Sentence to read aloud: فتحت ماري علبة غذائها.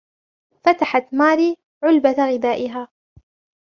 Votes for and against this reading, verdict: 0, 2, rejected